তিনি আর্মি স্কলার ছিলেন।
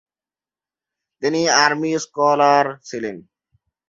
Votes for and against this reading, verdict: 2, 0, accepted